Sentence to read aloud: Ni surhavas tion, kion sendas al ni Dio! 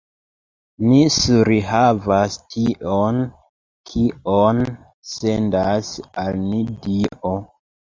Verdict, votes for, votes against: rejected, 0, 2